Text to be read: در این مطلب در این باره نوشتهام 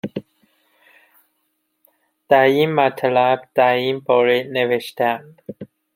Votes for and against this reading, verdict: 2, 0, accepted